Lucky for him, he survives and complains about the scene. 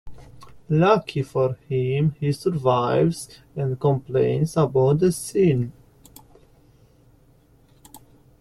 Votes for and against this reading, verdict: 2, 0, accepted